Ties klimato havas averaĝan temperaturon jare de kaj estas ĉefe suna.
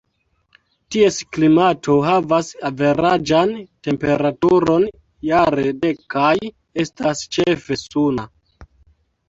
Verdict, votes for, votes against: accepted, 2, 0